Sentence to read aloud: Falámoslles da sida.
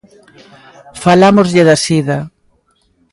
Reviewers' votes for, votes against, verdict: 2, 1, accepted